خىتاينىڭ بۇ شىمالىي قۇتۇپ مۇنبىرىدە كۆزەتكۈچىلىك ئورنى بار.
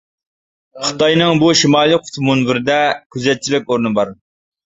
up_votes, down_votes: 0, 2